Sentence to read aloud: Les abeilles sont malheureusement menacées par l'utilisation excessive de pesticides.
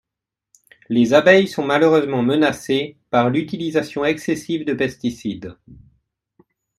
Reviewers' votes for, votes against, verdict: 2, 0, accepted